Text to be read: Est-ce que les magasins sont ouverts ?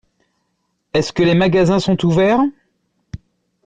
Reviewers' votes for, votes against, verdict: 2, 0, accepted